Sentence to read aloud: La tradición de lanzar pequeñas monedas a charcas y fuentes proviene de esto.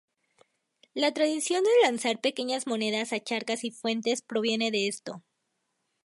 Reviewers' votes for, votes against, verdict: 2, 4, rejected